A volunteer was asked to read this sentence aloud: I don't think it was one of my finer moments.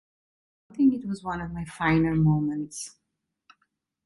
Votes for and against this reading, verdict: 0, 2, rejected